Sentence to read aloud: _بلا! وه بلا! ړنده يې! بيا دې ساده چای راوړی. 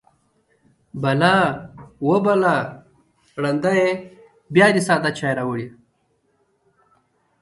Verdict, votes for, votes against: accepted, 2, 0